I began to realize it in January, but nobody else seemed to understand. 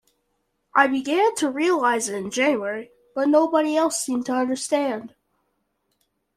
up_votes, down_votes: 2, 0